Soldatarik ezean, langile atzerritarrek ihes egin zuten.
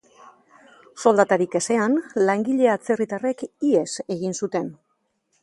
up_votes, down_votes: 2, 0